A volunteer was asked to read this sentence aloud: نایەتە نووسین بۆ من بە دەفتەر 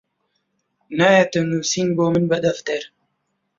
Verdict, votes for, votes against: accepted, 2, 0